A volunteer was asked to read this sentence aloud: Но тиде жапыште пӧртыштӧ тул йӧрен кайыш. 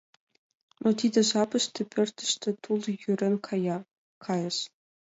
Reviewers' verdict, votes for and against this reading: accepted, 2, 1